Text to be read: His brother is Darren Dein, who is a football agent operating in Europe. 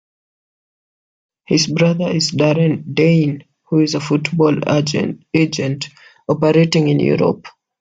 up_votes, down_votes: 0, 2